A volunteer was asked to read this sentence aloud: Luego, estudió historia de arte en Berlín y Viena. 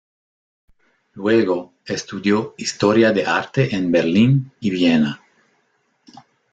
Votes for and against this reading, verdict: 2, 0, accepted